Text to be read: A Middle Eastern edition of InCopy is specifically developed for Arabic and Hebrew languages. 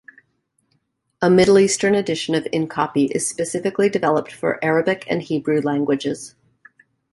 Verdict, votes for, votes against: accepted, 2, 0